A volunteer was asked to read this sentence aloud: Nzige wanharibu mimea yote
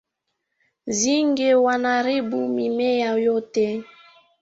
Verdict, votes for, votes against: rejected, 1, 2